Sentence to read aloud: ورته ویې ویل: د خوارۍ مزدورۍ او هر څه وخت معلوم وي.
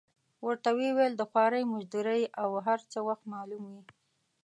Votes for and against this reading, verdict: 1, 2, rejected